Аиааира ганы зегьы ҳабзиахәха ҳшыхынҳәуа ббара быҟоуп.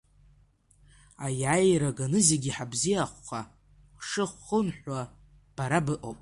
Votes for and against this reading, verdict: 0, 2, rejected